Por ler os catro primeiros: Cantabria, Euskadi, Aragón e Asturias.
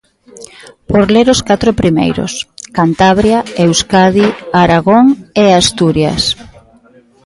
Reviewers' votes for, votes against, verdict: 2, 0, accepted